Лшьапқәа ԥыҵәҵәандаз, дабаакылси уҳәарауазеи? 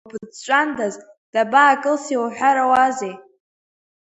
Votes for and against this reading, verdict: 0, 2, rejected